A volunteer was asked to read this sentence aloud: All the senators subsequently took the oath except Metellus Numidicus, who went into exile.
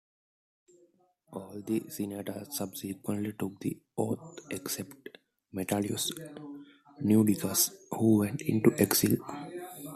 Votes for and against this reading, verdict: 1, 2, rejected